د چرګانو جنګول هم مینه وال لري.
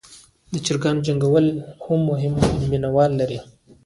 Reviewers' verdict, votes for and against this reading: rejected, 0, 2